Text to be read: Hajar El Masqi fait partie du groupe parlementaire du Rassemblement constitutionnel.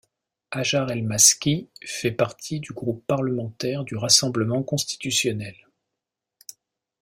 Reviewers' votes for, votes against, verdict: 2, 0, accepted